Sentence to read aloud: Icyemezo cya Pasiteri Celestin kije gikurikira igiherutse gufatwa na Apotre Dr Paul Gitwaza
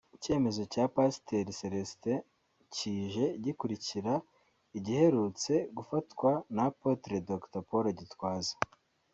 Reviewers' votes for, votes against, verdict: 2, 0, accepted